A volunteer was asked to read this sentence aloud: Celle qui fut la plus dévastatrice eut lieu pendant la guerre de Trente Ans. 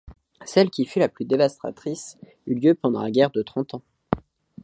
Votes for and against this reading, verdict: 2, 0, accepted